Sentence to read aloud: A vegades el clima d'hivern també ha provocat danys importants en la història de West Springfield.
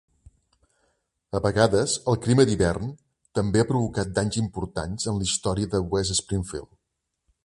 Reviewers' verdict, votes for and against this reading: accepted, 3, 0